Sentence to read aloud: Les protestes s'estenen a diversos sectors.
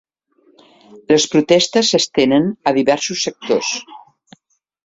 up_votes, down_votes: 3, 0